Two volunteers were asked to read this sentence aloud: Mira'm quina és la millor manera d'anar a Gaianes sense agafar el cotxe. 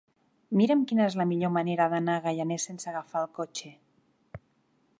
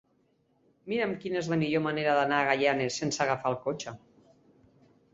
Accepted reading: second